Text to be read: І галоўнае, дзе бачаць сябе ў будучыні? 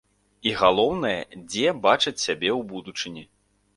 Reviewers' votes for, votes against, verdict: 2, 0, accepted